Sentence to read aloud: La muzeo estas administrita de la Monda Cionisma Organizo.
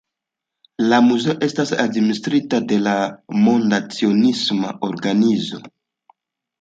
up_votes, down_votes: 2, 0